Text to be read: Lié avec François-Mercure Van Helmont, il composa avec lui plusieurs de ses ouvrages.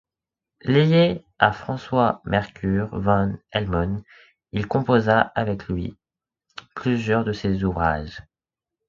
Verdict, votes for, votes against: accepted, 2, 0